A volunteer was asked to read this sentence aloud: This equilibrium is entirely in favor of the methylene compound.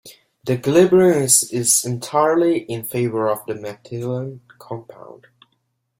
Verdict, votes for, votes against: accepted, 2, 1